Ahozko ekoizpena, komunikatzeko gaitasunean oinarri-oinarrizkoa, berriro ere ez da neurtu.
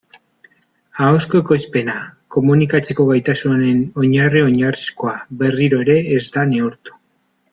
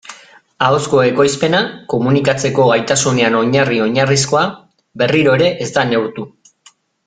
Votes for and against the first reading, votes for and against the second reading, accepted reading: 1, 2, 2, 0, second